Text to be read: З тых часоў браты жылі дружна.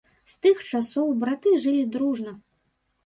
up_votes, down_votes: 2, 0